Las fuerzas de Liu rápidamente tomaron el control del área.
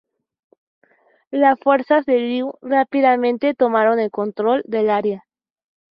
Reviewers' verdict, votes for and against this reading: accepted, 4, 0